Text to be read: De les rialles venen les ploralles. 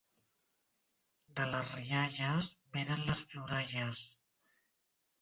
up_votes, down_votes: 1, 2